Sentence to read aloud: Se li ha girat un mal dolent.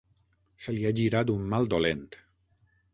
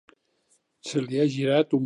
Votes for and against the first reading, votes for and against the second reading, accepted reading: 6, 0, 0, 2, first